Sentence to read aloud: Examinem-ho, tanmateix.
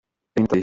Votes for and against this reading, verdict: 0, 2, rejected